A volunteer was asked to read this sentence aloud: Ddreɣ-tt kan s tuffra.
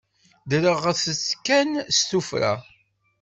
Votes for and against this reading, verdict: 1, 2, rejected